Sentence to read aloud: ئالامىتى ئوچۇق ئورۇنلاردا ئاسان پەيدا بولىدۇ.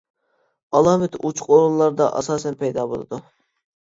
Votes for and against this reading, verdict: 1, 2, rejected